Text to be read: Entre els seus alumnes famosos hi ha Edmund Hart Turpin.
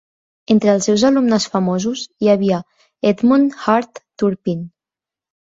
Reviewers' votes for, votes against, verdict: 3, 4, rejected